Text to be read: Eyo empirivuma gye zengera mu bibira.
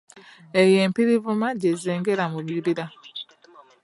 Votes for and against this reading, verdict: 0, 2, rejected